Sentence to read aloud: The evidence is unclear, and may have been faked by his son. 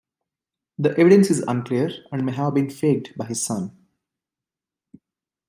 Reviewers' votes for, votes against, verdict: 2, 0, accepted